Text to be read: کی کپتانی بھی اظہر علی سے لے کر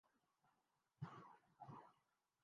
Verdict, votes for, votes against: rejected, 0, 3